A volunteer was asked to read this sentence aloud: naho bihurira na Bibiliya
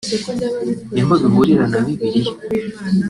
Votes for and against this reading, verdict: 1, 2, rejected